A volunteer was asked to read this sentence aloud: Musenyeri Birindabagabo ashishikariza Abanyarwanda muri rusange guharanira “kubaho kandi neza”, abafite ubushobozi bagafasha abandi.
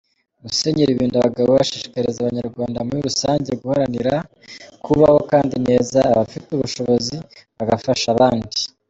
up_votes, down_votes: 2, 1